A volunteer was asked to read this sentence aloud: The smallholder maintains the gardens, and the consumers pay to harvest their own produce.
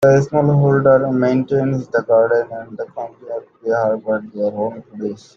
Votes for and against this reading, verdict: 0, 2, rejected